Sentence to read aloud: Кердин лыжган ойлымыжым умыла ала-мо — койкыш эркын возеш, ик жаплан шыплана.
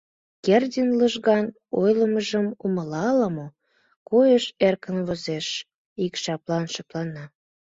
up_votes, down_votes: 1, 2